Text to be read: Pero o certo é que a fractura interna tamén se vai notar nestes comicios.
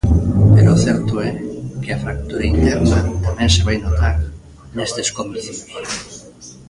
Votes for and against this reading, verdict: 0, 2, rejected